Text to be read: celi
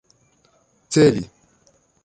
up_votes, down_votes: 2, 0